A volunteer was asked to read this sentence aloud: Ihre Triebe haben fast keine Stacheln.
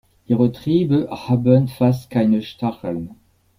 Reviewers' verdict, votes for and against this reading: accepted, 2, 0